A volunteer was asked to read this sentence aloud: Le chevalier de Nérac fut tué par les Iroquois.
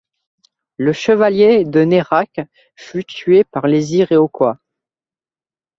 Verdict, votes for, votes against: rejected, 0, 2